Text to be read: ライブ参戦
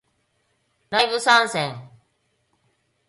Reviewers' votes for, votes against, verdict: 3, 1, accepted